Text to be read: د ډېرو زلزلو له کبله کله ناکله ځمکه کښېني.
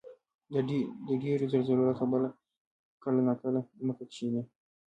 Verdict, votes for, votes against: rejected, 1, 2